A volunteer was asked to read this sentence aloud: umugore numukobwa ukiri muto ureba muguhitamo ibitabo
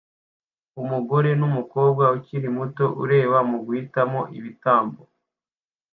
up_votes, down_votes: 1, 2